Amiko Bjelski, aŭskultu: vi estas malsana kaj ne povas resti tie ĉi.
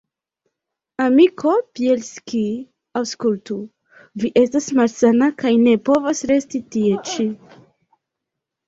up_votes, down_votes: 2, 0